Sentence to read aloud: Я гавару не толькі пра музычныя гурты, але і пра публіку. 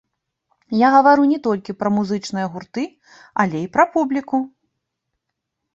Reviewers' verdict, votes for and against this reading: rejected, 1, 2